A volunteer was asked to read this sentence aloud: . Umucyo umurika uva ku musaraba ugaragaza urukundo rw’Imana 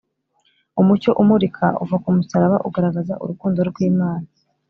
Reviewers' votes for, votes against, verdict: 2, 0, accepted